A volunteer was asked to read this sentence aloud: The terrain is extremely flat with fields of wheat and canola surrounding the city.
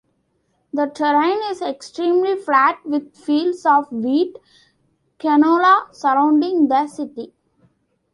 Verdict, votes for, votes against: accepted, 2, 0